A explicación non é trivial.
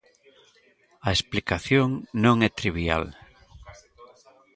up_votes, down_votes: 2, 0